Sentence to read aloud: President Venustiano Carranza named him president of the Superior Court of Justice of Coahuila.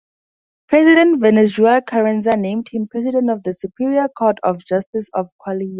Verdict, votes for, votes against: rejected, 2, 2